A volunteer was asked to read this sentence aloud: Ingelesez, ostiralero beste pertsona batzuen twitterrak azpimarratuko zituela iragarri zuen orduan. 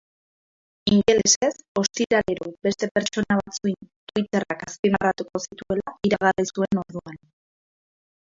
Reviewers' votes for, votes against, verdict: 0, 2, rejected